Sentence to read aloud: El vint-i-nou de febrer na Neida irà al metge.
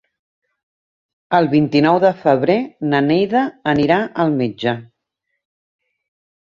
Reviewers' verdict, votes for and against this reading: rejected, 0, 2